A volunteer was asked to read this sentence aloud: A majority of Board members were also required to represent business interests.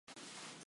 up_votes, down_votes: 0, 2